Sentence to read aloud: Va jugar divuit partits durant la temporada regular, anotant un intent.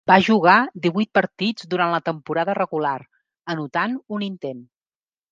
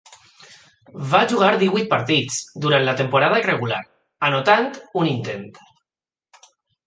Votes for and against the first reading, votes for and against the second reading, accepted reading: 3, 0, 0, 2, first